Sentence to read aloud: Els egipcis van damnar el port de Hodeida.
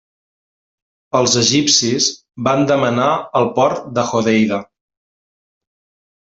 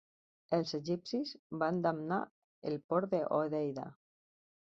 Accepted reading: second